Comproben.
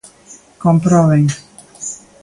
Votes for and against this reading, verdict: 2, 0, accepted